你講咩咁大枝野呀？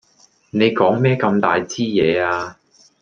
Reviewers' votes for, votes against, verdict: 2, 0, accepted